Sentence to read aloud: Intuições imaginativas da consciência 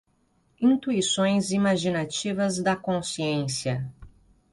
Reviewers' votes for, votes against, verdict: 2, 0, accepted